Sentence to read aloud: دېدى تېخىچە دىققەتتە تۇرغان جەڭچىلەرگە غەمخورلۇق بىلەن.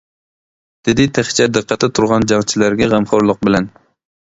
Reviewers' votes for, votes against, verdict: 2, 0, accepted